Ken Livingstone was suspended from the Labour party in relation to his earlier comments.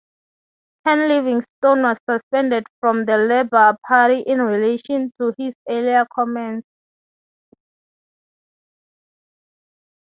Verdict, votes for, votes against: accepted, 3, 0